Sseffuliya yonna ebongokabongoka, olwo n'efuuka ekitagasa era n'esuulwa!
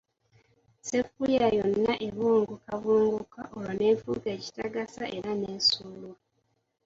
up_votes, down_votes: 0, 2